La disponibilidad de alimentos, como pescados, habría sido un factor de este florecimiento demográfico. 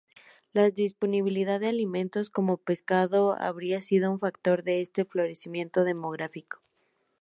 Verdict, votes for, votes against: accepted, 2, 0